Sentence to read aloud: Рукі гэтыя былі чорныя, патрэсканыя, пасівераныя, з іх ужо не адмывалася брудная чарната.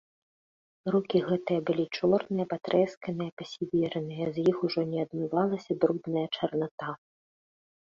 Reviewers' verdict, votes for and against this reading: accepted, 2, 0